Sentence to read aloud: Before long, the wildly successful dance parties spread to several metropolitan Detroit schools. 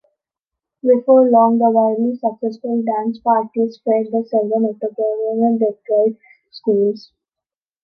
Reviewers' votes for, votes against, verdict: 0, 3, rejected